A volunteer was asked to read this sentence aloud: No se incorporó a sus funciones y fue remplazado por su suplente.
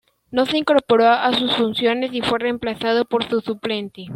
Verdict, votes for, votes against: accepted, 2, 0